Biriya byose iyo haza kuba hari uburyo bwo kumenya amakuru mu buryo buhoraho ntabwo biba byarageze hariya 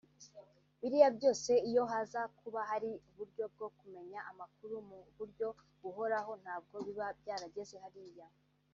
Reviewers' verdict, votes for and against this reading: rejected, 1, 2